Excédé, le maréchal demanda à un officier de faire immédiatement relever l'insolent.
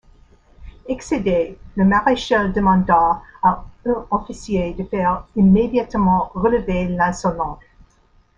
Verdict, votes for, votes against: rejected, 1, 2